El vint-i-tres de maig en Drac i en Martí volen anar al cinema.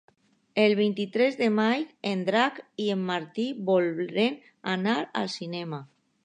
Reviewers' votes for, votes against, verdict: 1, 2, rejected